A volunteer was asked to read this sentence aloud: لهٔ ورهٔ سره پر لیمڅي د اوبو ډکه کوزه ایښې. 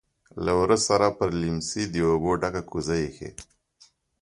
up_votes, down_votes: 2, 0